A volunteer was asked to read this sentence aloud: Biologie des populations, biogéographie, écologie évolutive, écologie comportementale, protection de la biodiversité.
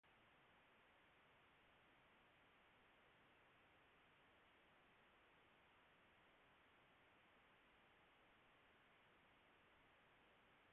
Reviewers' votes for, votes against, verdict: 0, 2, rejected